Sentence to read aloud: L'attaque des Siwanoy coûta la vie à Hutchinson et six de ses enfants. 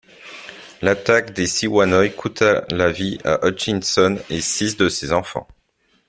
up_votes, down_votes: 2, 0